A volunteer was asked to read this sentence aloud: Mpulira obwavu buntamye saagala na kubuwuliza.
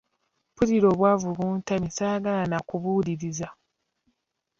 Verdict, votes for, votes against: rejected, 0, 2